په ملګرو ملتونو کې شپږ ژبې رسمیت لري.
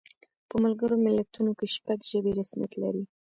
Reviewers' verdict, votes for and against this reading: accepted, 2, 1